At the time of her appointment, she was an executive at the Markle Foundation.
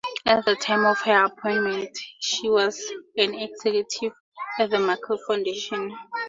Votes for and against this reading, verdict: 4, 0, accepted